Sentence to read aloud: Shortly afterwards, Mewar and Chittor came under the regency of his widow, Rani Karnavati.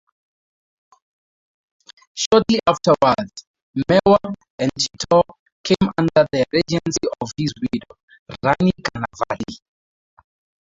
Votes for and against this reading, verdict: 0, 4, rejected